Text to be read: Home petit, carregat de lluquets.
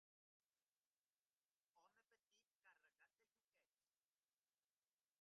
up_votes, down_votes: 2, 0